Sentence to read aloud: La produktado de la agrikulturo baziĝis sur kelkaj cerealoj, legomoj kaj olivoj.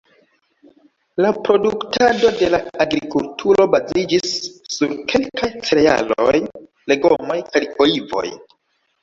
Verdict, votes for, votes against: rejected, 1, 2